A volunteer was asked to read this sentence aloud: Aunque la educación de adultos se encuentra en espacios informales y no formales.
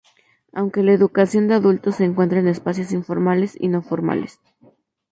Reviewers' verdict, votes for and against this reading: accepted, 2, 0